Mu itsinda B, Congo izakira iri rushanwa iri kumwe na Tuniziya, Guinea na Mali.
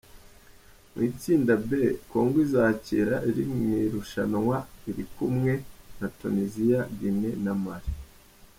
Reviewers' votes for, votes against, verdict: 0, 2, rejected